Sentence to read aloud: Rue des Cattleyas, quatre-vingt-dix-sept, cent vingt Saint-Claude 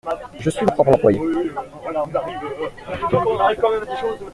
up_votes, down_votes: 0, 2